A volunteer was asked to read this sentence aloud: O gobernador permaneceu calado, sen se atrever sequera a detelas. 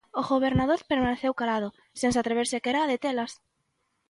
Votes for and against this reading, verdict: 2, 0, accepted